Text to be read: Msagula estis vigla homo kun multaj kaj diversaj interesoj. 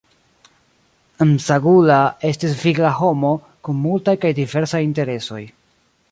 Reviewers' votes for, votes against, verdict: 0, 2, rejected